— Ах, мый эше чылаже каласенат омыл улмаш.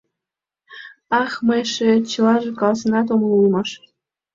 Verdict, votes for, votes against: accepted, 2, 0